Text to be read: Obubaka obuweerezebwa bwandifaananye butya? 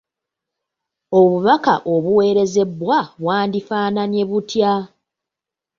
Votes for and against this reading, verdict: 2, 0, accepted